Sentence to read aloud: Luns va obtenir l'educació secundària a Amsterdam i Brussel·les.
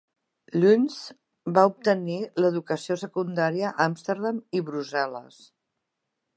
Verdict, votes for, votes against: accepted, 2, 0